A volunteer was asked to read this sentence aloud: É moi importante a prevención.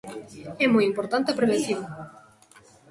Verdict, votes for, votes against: rejected, 0, 2